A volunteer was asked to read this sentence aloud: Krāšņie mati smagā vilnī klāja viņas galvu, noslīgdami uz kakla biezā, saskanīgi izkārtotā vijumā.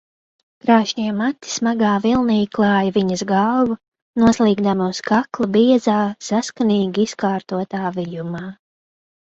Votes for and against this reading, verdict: 2, 0, accepted